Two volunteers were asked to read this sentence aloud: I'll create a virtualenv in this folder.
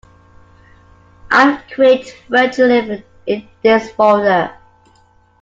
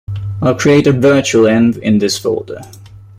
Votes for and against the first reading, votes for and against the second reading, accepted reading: 2, 1, 1, 2, first